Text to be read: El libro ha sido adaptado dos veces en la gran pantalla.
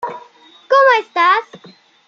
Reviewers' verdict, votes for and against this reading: rejected, 0, 2